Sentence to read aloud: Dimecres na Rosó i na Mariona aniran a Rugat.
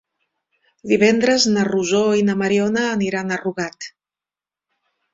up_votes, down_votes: 1, 2